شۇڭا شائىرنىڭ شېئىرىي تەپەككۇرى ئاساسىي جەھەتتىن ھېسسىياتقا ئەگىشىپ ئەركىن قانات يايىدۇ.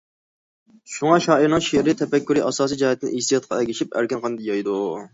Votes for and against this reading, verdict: 0, 2, rejected